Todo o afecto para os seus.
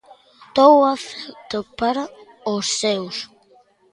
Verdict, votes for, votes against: rejected, 0, 2